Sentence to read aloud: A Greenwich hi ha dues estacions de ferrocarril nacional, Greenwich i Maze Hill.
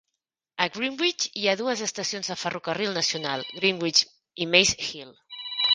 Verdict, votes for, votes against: accepted, 2, 0